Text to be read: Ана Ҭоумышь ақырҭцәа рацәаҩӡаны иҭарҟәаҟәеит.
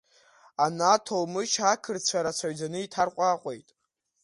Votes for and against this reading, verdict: 1, 2, rejected